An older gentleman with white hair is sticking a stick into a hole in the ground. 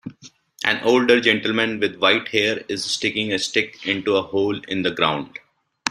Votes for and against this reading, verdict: 2, 0, accepted